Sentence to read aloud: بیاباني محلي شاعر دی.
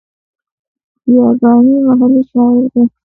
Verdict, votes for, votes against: rejected, 0, 2